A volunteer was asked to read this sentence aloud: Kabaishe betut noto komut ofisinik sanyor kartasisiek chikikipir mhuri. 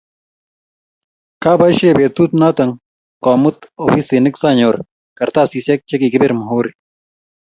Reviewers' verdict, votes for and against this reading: accepted, 2, 0